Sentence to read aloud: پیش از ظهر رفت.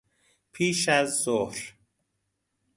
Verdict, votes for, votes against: rejected, 0, 2